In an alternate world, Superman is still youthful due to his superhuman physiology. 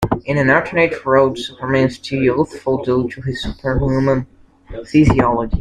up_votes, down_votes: 2, 1